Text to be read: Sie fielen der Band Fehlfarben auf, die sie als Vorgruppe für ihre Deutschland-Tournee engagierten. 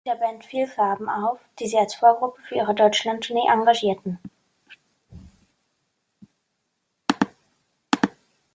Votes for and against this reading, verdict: 0, 2, rejected